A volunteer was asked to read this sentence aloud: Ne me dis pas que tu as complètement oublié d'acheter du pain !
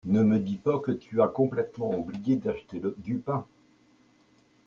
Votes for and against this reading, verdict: 0, 2, rejected